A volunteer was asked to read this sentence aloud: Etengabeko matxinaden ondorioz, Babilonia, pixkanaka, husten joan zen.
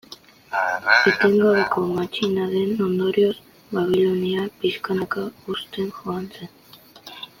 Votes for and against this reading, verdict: 2, 1, accepted